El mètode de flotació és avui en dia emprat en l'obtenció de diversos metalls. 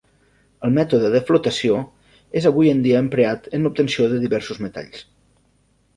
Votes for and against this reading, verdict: 1, 2, rejected